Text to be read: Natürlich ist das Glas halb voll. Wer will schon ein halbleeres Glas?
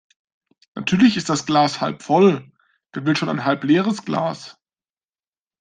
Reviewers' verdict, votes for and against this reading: accepted, 2, 0